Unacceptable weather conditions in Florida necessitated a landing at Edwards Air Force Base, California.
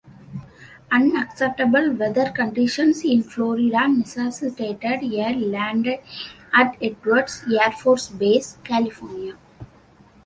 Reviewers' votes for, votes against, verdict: 2, 1, accepted